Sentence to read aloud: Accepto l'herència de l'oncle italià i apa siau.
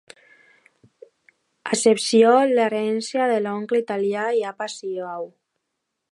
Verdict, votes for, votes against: rejected, 0, 2